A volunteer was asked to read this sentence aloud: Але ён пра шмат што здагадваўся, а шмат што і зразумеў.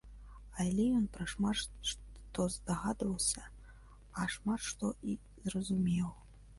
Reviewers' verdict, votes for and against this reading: accepted, 2, 1